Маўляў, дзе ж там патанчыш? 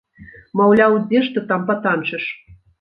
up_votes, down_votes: 0, 2